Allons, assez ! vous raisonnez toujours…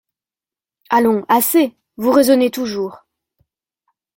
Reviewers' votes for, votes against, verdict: 2, 0, accepted